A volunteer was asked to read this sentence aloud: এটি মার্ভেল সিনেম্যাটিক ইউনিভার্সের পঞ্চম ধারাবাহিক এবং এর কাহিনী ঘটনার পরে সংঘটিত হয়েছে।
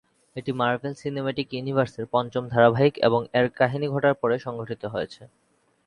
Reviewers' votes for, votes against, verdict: 3, 0, accepted